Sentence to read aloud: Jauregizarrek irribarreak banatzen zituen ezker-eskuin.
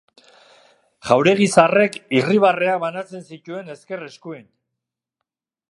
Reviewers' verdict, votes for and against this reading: accepted, 2, 0